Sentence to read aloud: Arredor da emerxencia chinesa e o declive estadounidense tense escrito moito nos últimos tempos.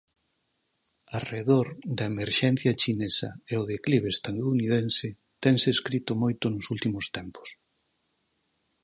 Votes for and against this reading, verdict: 4, 0, accepted